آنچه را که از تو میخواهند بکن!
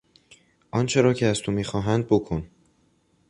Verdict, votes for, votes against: accepted, 2, 0